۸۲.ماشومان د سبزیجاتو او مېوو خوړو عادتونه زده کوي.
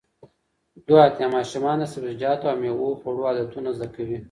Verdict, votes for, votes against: rejected, 0, 2